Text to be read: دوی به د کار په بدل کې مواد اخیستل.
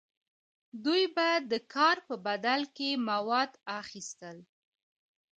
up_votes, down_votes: 2, 1